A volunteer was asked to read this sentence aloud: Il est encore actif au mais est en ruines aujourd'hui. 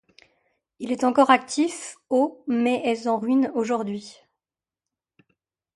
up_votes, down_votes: 1, 2